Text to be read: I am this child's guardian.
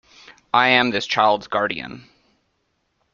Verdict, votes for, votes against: accepted, 2, 0